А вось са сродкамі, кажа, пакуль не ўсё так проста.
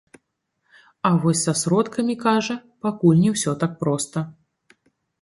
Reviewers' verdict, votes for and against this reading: rejected, 0, 2